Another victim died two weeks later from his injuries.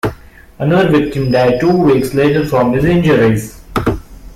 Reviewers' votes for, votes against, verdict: 2, 0, accepted